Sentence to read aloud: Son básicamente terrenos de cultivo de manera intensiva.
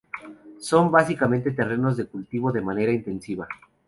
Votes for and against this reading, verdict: 2, 0, accepted